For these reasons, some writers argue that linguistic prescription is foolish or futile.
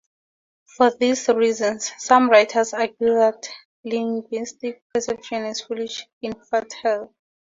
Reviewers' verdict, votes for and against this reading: rejected, 0, 4